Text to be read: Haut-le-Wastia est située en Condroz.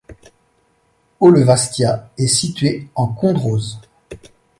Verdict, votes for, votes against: accepted, 2, 0